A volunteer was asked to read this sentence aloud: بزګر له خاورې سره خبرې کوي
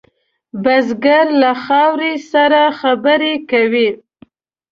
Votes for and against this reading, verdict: 2, 0, accepted